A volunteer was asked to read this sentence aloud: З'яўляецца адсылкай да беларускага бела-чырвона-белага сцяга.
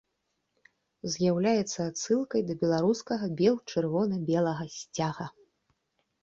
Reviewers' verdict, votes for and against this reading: rejected, 0, 2